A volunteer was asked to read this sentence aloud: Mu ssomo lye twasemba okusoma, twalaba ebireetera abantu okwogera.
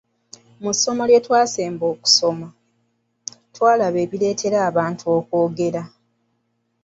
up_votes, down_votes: 2, 0